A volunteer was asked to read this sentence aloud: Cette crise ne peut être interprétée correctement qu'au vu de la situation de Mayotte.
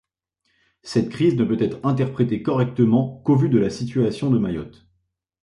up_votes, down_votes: 2, 0